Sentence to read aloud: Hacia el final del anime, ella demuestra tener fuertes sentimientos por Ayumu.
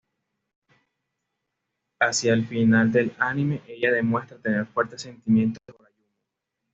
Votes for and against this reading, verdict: 0, 2, rejected